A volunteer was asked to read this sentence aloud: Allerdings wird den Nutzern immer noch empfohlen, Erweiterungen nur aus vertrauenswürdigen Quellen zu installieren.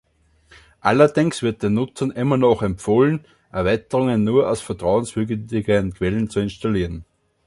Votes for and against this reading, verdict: 2, 3, rejected